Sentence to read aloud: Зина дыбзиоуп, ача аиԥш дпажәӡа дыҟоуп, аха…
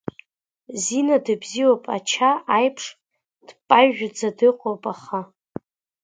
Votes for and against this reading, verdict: 2, 1, accepted